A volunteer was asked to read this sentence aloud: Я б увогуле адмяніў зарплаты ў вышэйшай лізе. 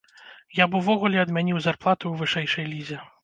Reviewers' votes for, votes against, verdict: 2, 0, accepted